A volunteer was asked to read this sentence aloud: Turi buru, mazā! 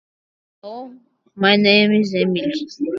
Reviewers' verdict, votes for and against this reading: rejected, 0, 2